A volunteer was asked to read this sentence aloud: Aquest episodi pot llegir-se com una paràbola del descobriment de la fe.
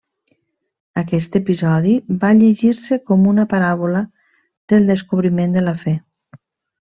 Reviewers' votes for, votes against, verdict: 0, 2, rejected